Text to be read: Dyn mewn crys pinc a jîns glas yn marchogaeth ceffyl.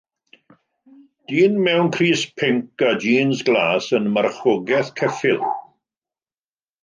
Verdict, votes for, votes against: rejected, 1, 2